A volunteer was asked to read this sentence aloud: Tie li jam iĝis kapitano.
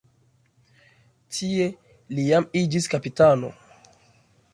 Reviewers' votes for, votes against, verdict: 2, 0, accepted